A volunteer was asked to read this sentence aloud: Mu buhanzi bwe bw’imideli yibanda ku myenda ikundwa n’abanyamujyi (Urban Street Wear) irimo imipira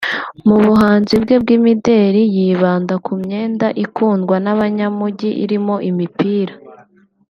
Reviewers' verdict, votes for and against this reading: rejected, 0, 2